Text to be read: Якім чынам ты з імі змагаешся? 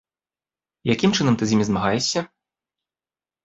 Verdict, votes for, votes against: accepted, 2, 0